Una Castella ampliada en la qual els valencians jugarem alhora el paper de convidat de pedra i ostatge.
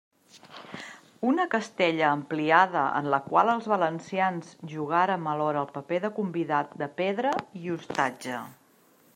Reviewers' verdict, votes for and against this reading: rejected, 0, 2